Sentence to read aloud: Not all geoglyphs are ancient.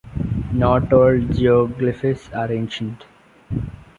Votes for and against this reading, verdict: 1, 2, rejected